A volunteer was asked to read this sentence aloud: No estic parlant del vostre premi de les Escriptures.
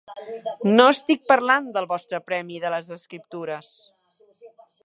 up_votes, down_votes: 3, 0